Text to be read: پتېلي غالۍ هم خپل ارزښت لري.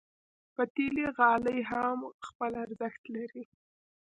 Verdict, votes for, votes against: rejected, 1, 2